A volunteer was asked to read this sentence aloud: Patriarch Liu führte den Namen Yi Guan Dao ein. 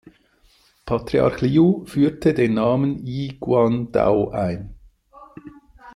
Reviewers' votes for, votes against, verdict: 2, 0, accepted